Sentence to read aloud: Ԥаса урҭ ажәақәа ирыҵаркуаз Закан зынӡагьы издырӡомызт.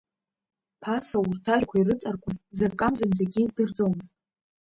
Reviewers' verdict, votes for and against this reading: rejected, 1, 2